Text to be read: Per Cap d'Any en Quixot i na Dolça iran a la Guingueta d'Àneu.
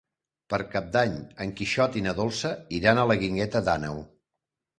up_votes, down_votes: 1, 2